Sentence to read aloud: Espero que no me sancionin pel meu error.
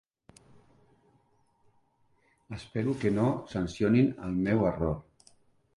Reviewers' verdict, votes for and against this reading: rejected, 0, 2